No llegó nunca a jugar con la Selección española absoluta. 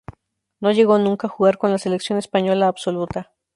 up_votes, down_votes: 2, 0